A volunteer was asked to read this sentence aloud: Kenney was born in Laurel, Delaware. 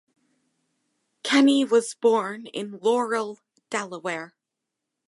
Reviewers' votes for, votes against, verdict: 2, 0, accepted